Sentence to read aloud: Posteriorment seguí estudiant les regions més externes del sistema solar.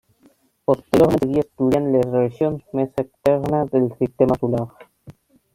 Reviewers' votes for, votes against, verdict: 0, 2, rejected